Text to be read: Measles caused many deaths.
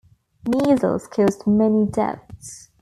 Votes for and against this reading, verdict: 2, 1, accepted